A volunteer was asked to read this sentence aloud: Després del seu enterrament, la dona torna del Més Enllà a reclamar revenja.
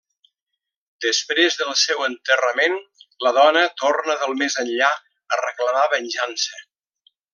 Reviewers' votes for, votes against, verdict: 0, 2, rejected